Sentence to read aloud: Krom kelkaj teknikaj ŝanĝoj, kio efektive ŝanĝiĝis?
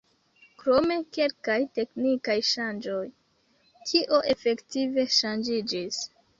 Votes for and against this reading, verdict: 0, 2, rejected